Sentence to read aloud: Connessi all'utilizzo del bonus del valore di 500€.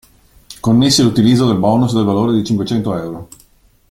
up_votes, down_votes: 0, 2